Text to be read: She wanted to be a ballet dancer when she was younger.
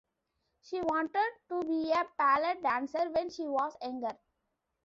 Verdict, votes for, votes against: rejected, 0, 2